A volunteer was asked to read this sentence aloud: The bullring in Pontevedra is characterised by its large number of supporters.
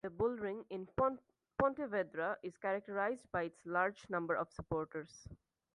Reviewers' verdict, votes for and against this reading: rejected, 1, 2